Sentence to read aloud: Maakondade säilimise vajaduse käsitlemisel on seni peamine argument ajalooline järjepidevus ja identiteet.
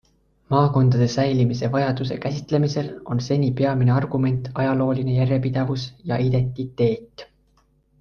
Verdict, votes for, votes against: accepted, 2, 0